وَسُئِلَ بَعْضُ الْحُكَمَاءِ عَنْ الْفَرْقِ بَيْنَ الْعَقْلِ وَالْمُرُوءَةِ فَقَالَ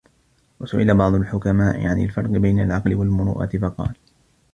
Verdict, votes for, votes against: accepted, 2, 1